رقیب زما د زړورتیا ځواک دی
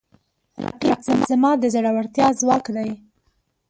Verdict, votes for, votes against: rejected, 0, 2